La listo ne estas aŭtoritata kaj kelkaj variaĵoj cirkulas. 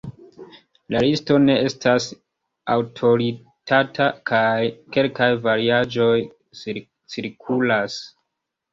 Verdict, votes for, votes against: rejected, 1, 3